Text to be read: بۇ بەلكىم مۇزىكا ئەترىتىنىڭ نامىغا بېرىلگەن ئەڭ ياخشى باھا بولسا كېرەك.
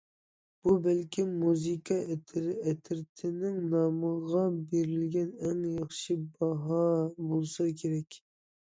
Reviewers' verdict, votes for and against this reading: rejected, 0, 2